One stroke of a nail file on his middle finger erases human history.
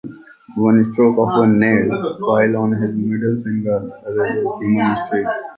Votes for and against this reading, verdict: 2, 0, accepted